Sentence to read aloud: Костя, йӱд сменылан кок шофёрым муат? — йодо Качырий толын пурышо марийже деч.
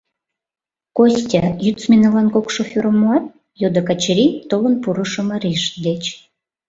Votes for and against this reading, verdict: 0, 2, rejected